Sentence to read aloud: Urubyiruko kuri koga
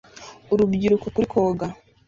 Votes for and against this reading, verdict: 2, 0, accepted